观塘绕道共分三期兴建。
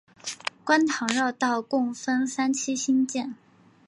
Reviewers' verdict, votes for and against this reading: rejected, 1, 2